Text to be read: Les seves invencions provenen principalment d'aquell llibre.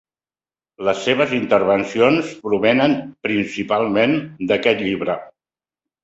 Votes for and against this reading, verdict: 0, 2, rejected